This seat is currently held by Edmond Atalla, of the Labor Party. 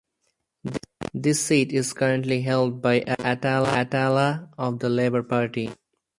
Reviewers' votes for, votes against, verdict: 0, 4, rejected